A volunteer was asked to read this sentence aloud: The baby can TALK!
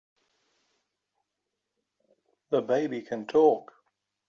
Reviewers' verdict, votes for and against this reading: accepted, 2, 0